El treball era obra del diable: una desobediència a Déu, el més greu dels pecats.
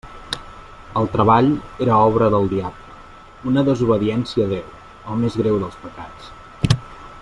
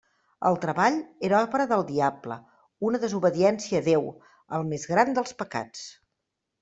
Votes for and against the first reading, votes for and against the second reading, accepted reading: 2, 1, 1, 2, first